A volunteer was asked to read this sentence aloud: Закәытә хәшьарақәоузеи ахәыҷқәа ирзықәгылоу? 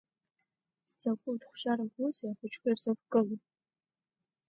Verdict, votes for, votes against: rejected, 1, 2